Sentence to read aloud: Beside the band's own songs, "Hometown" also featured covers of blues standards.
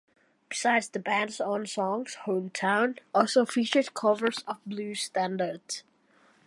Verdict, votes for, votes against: accepted, 2, 0